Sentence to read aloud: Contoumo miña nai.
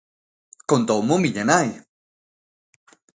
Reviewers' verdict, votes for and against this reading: accepted, 2, 0